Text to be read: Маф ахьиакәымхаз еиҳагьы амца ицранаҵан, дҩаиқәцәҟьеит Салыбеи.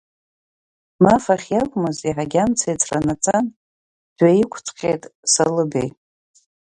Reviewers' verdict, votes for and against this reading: rejected, 1, 2